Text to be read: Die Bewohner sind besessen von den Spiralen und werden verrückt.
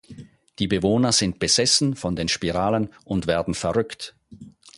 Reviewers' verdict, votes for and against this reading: accepted, 4, 0